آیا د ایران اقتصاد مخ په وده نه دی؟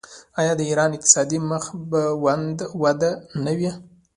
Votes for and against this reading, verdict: 1, 2, rejected